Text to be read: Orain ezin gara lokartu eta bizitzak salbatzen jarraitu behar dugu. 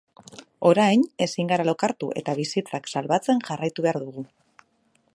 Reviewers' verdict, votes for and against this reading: accepted, 2, 0